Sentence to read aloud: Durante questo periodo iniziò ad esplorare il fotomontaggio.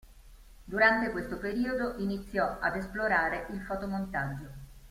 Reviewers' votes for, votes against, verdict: 2, 0, accepted